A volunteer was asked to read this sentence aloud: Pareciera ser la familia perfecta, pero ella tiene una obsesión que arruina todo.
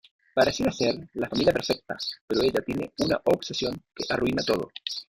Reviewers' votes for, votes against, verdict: 1, 2, rejected